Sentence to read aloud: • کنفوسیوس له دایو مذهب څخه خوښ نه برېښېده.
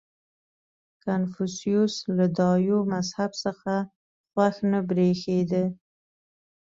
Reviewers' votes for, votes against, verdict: 2, 0, accepted